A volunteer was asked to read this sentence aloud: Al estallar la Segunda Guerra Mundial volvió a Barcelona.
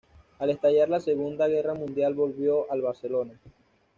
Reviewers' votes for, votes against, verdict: 1, 2, rejected